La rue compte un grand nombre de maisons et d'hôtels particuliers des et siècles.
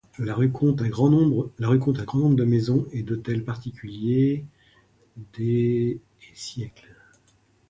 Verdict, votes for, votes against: rejected, 0, 3